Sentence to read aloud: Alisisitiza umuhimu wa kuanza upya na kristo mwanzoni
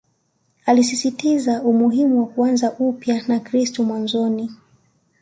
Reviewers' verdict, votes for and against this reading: accepted, 2, 0